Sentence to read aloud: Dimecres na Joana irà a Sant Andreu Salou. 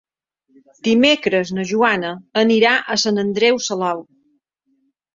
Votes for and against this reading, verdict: 0, 2, rejected